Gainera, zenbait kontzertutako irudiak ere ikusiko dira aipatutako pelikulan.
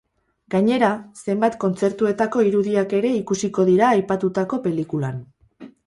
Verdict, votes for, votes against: rejected, 0, 4